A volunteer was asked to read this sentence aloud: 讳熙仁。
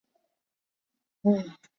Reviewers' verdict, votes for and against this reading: rejected, 0, 2